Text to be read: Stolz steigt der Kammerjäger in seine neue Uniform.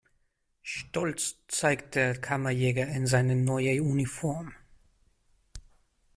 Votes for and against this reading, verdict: 0, 2, rejected